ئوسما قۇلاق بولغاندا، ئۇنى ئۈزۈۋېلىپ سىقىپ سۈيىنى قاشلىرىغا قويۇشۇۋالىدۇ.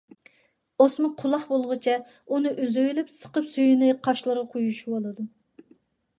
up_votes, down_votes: 1, 2